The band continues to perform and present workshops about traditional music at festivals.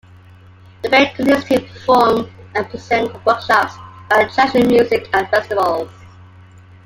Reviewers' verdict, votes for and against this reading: rejected, 0, 2